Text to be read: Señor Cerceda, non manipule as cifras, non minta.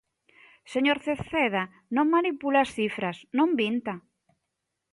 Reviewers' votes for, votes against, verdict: 2, 0, accepted